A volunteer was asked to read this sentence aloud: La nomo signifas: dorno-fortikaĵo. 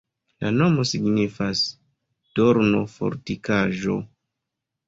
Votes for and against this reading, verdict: 2, 0, accepted